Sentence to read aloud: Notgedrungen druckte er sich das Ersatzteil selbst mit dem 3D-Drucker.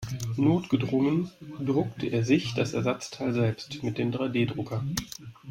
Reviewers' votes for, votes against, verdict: 0, 2, rejected